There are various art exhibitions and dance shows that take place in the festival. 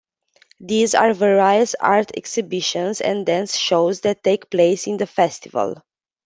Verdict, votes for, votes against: rejected, 0, 2